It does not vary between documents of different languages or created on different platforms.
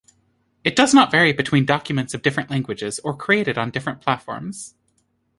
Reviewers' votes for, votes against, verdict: 2, 0, accepted